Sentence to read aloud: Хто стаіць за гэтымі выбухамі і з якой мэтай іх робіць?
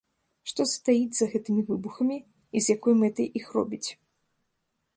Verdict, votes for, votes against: rejected, 0, 2